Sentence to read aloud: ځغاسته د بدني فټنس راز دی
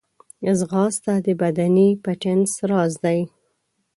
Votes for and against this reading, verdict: 2, 3, rejected